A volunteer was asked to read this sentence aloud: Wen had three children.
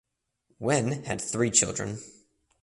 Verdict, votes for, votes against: accepted, 2, 0